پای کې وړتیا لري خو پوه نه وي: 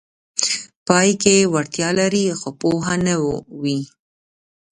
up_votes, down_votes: 3, 0